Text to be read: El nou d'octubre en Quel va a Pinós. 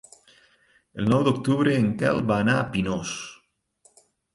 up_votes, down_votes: 2, 4